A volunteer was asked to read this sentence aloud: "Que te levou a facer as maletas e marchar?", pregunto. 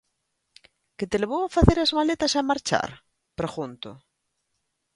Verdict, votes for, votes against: rejected, 1, 2